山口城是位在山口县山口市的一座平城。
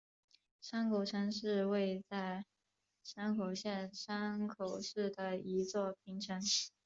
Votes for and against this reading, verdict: 3, 0, accepted